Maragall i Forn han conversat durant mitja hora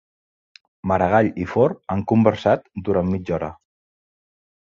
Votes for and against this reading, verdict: 2, 0, accepted